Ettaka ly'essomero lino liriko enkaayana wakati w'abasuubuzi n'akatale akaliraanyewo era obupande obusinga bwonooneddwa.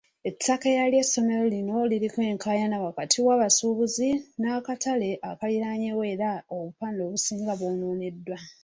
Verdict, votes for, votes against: rejected, 1, 2